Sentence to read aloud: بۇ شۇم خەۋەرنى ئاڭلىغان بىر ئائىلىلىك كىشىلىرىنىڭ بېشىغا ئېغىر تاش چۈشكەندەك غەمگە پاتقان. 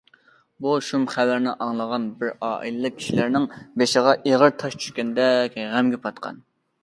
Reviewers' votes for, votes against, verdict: 2, 0, accepted